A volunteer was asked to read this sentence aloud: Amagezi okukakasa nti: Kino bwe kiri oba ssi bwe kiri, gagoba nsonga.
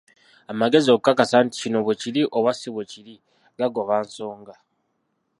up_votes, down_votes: 0, 2